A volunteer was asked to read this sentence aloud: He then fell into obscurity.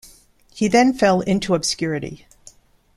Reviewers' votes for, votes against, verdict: 2, 0, accepted